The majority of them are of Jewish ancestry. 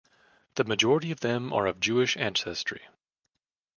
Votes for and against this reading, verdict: 2, 0, accepted